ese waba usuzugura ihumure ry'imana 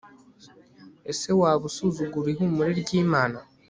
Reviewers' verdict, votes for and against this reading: accepted, 2, 0